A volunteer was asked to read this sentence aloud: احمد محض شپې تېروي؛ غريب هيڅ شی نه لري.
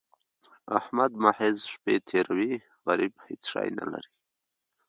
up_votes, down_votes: 2, 1